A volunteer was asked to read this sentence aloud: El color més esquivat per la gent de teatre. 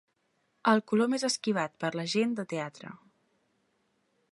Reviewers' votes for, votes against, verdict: 4, 0, accepted